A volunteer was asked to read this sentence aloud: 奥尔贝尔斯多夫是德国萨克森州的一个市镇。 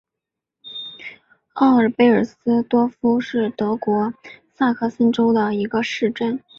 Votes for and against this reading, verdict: 2, 1, accepted